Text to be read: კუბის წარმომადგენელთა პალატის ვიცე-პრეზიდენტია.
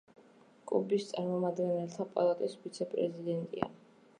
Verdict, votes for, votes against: rejected, 1, 2